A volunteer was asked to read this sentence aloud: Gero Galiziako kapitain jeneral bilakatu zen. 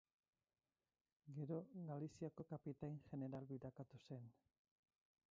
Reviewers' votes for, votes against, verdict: 0, 6, rejected